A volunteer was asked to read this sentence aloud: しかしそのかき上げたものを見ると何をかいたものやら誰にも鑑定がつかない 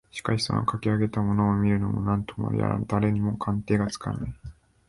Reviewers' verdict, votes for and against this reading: rejected, 0, 3